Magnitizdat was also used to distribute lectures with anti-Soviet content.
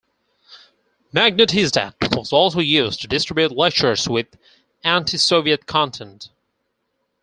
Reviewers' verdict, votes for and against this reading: accepted, 4, 0